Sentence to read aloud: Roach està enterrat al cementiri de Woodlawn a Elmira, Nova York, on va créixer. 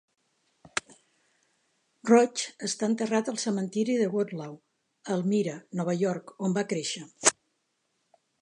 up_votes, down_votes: 3, 0